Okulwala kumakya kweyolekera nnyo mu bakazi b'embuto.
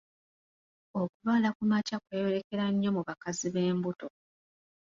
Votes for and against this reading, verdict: 2, 0, accepted